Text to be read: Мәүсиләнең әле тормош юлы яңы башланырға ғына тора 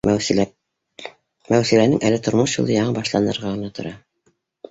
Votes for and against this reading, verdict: 0, 2, rejected